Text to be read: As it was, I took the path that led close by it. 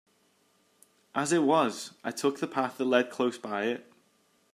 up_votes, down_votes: 2, 0